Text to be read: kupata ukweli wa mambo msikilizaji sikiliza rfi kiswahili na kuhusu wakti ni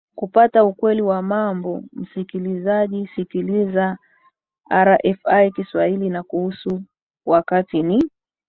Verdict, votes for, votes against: accepted, 3, 1